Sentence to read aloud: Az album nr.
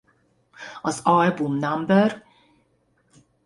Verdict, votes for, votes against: rejected, 1, 2